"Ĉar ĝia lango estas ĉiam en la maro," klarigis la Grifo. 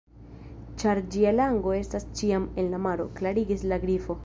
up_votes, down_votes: 1, 2